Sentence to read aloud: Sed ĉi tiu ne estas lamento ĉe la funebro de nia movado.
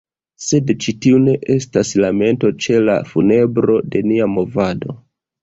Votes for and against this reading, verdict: 2, 1, accepted